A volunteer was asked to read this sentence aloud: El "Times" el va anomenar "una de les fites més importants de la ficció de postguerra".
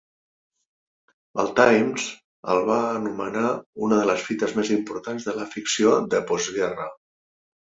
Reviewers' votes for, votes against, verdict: 3, 0, accepted